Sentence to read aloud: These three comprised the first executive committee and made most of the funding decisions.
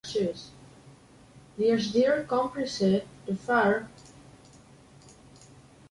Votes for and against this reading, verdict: 0, 2, rejected